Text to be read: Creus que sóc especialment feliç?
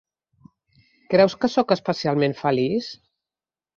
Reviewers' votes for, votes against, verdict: 2, 0, accepted